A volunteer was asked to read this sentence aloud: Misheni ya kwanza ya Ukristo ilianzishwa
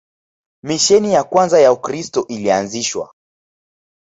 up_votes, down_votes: 0, 2